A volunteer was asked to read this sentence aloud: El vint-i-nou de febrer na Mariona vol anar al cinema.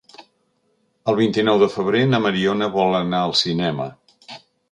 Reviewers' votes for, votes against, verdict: 3, 0, accepted